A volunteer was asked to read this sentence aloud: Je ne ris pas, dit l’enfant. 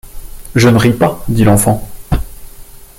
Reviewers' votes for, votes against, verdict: 2, 0, accepted